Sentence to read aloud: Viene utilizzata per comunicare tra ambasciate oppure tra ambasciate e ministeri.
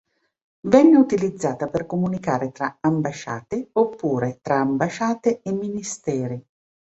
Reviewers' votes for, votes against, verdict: 0, 2, rejected